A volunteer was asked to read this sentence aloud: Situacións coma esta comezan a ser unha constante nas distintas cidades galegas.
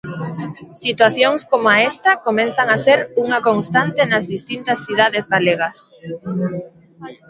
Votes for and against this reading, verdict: 1, 2, rejected